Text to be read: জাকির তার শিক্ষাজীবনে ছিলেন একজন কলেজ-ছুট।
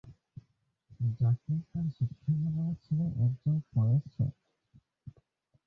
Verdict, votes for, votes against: rejected, 1, 3